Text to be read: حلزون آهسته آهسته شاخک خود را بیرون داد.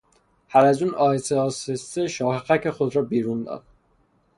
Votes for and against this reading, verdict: 0, 3, rejected